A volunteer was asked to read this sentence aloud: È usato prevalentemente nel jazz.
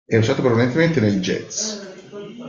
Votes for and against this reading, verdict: 1, 2, rejected